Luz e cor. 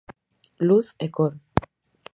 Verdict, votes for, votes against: rejected, 2, 2